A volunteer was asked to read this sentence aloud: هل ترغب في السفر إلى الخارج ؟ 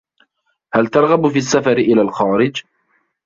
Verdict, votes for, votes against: rejected, 1, 2